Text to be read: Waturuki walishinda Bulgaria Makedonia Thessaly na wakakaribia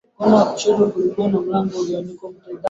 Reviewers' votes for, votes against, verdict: 0, 3, rejected